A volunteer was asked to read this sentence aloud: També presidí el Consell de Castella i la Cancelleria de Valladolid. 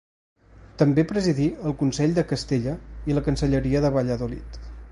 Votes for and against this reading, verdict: 2, 0, accepted